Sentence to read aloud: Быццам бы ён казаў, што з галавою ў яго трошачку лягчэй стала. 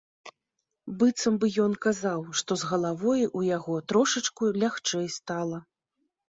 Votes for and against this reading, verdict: 2, 0, accepted